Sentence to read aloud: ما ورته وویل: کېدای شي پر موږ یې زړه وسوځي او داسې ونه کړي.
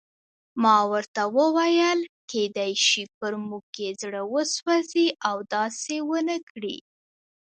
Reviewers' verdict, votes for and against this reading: accepted, 2, 1